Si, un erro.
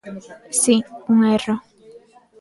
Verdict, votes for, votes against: rejected, 0, 2